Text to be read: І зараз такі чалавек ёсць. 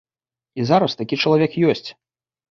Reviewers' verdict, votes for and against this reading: accepted, 2, 0